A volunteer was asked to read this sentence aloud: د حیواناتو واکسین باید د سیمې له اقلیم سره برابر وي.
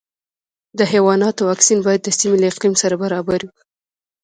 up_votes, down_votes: 0, 2